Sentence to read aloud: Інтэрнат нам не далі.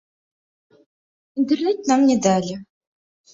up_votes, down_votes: 0, 2